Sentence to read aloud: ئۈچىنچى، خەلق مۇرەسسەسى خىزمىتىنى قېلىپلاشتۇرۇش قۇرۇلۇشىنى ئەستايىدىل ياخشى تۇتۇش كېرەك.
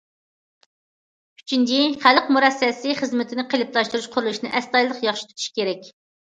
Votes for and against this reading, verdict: 2, 0, accepted